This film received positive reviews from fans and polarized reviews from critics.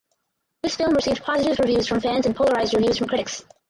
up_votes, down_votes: 2, 4